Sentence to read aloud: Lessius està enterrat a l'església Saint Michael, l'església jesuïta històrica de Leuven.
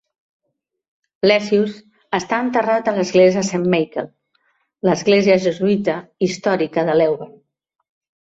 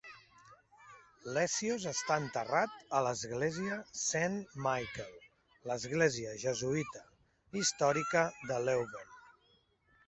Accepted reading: first